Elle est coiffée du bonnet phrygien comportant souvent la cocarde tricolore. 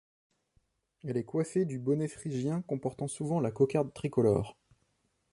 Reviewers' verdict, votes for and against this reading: accepted, 2, 0